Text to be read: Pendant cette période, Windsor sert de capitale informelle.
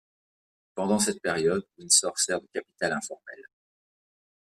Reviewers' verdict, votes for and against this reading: rejected, 1, 2